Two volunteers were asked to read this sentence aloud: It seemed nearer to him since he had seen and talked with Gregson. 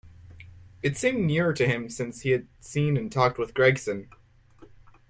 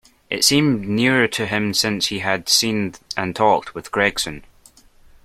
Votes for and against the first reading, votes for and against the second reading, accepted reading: 2, 0, 0, 2, first